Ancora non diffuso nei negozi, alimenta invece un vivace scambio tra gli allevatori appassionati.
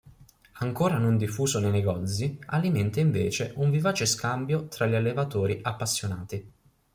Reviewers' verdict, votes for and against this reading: accepted, 2, 0